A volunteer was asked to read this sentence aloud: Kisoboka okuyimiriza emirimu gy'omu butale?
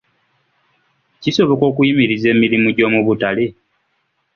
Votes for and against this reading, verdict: 2, 1, accepted